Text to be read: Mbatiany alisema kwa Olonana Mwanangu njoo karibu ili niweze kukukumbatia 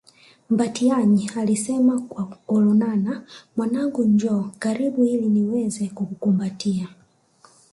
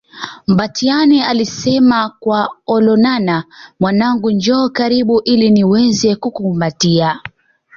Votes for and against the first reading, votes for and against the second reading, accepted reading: 0, 2, 2, 0, second